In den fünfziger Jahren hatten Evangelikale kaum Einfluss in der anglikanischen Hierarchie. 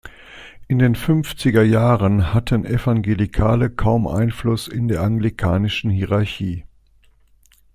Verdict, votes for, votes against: accepted, 2, 0